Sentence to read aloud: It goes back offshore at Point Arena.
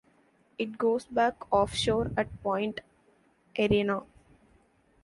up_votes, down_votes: 2, 1